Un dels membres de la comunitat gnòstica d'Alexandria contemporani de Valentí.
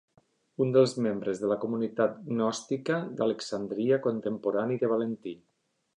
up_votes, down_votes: 2, 0